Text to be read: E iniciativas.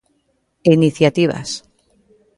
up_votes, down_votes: 2, 0